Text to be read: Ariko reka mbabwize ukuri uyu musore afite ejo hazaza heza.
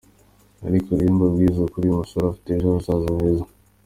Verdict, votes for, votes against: accepted, 2, 0